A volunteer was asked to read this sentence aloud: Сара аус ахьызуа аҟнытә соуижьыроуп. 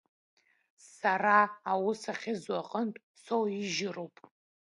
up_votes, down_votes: 1, 2